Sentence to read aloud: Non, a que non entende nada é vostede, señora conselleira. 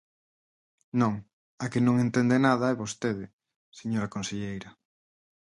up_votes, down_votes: 4, 0